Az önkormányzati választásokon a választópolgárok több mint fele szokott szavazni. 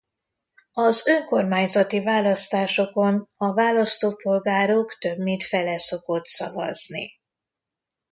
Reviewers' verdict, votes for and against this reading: accepted, 2, 0